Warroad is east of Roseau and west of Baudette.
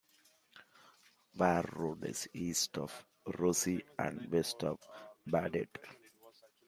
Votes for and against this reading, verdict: 2, 0, accepted